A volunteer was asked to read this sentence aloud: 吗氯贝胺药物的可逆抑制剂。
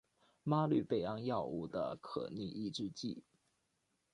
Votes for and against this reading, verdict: 2, 0, accepted